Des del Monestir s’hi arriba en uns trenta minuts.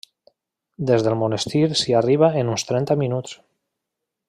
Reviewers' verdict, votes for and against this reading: accepted, 3, 0